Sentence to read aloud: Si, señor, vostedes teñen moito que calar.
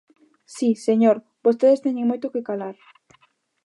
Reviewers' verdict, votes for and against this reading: accepted, 2, 0